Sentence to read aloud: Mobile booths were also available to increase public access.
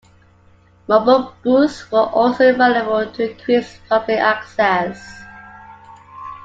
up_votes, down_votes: 2, 1